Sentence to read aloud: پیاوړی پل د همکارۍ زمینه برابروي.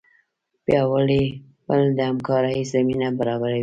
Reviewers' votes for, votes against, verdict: 2, 0, accepted